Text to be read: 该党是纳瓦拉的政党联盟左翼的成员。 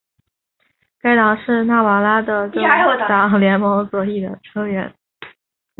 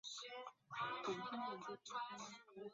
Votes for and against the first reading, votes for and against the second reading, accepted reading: 4, 0, 0, 2, first